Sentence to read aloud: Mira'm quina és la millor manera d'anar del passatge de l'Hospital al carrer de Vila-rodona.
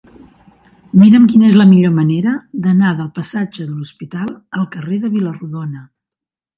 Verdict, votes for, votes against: accepted, 3, 0